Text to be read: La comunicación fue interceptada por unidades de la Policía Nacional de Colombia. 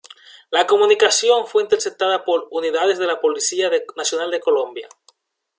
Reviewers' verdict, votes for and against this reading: rejected, 1, 2